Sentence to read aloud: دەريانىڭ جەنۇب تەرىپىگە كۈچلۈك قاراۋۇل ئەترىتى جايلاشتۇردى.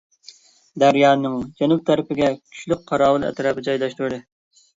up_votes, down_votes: 1, 2